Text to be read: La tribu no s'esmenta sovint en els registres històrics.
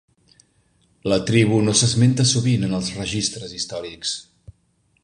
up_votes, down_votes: 2, 0